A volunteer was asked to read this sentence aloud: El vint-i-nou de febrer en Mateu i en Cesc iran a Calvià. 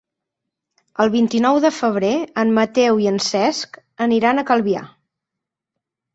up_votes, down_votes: 0, 6